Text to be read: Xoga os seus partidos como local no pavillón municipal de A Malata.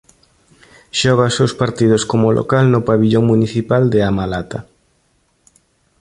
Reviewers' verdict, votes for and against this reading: accepted, 2, 1